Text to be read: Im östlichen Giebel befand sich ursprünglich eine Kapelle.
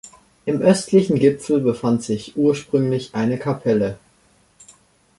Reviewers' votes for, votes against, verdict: 0, 2, rejected